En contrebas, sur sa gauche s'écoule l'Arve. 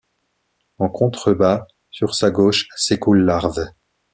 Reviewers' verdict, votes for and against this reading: accepted, 2, 1